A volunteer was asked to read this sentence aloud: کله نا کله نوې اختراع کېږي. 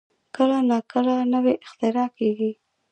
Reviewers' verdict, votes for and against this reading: rejected, 0, 2